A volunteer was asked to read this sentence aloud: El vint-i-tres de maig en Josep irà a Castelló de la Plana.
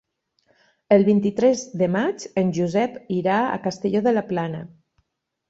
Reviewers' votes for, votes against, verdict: 6, 0, accepted